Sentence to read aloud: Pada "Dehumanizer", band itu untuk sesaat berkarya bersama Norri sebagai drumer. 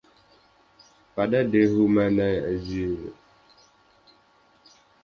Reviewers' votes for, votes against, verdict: 0, 2, rejected